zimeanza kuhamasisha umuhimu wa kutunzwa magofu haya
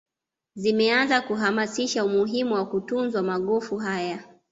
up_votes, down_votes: 2, 0